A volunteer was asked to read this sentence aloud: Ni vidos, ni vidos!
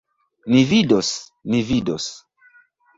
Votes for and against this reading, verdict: 3, 0, accepted